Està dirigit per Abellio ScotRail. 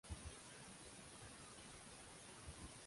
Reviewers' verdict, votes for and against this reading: rejected, 0, 2